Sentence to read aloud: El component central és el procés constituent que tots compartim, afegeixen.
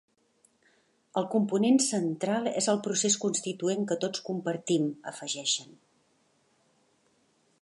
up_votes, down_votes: 3, 0